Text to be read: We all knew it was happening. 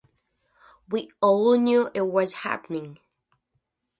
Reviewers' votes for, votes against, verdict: 2, 0, accepted